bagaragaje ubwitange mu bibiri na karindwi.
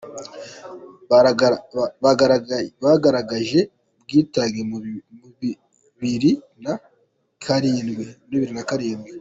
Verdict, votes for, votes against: rejected, 0, 2